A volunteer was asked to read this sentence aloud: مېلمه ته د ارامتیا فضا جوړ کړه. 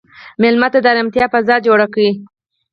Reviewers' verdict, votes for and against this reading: accepted, 4, 0